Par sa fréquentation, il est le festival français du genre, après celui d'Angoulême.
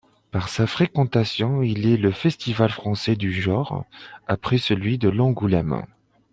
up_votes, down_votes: 3, 1